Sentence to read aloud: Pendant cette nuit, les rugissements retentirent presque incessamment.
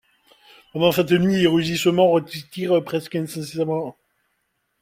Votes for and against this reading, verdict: 2, 0, accepted